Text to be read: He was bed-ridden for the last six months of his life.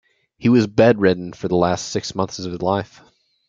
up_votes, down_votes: 2, 0